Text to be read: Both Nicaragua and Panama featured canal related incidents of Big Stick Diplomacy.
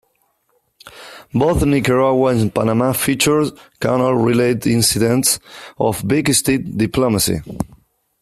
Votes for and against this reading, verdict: 2, 0, accepted